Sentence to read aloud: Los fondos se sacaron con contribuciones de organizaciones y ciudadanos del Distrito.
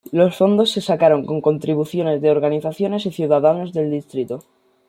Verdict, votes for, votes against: rejected, 1, 2